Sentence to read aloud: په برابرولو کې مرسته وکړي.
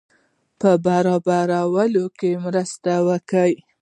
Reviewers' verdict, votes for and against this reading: accepted, 2, 1